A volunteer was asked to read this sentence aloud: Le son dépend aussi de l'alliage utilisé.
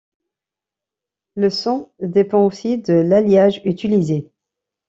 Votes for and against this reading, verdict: 2, 0, accepted